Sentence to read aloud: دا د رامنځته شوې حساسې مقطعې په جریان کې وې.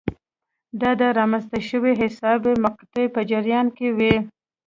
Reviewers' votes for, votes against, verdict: 0, 2, rejected